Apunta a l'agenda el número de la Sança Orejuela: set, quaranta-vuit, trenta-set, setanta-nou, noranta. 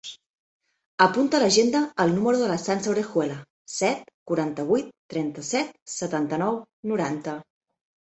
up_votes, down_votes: 2, 0